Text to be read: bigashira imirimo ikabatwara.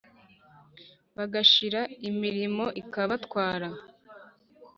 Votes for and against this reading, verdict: 1, 2, rejected